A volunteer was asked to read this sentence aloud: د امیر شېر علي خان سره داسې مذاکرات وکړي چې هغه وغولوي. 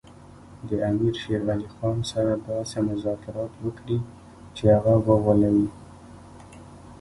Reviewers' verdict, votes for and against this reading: rejected, 0, 2